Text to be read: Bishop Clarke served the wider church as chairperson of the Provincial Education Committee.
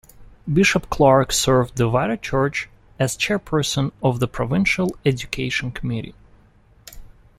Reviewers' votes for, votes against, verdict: 2, 0, accepted